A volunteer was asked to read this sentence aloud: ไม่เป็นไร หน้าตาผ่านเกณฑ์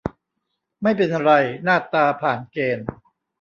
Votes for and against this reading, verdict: 0, 2, rejected